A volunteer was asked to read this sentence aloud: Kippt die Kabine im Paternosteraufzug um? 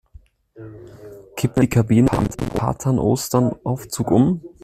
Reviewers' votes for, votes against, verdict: 0, 2, rejected